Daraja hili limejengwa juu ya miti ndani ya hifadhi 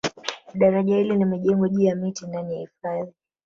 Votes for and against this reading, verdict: 0, 2, rejected